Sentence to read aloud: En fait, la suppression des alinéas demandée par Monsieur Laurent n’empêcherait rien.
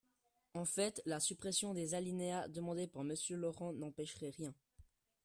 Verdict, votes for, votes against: accepted, 3, 0